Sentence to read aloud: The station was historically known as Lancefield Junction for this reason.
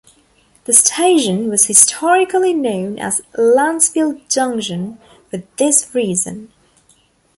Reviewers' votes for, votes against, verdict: 0, 2, rejected